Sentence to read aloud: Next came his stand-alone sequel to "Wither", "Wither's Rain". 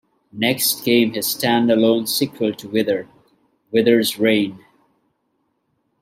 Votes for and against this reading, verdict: 1, 2, rejected